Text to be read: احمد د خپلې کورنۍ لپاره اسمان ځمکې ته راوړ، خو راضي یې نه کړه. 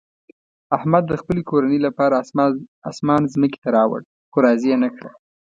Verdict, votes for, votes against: rejected, 1, 2